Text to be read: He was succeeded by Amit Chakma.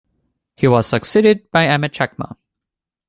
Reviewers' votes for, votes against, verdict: 2, 0, accepted